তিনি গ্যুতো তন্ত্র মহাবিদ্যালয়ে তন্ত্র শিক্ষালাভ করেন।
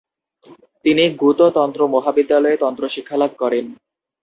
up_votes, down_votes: 2, 0